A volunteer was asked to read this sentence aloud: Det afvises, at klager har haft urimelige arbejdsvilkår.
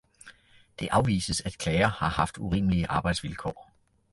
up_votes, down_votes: 2, 0